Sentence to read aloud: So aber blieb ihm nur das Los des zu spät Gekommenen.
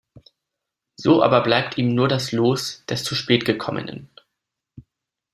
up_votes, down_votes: 1, 2